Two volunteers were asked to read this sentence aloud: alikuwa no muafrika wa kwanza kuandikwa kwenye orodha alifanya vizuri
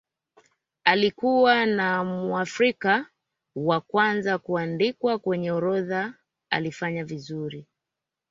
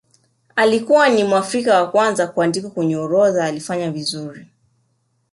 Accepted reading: second